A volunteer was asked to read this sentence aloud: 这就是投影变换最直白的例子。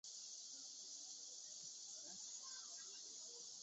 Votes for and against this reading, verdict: 0, 2, rejected